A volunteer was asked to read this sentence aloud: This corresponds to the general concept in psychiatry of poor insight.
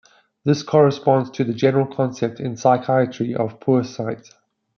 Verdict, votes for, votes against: rejected, 1, 2